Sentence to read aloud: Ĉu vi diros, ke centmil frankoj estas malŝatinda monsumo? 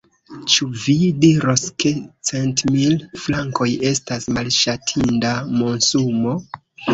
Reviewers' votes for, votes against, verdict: 0, 2, rejected